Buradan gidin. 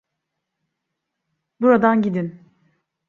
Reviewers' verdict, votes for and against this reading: accepted, 2, 0